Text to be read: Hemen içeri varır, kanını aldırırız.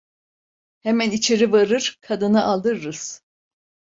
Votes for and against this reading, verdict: 1, 2, rejected